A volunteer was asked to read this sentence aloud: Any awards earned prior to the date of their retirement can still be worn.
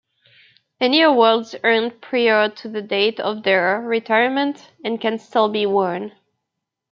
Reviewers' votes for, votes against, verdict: 0, 2, rejected